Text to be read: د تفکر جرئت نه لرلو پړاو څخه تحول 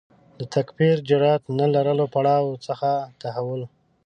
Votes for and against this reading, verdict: 1, 2, rejected